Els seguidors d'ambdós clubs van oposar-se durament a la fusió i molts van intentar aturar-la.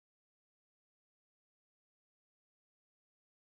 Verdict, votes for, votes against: rejected, 0, 3